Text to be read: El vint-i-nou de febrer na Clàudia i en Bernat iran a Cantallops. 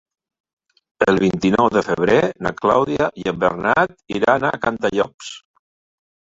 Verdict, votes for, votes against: accepted, 3, 2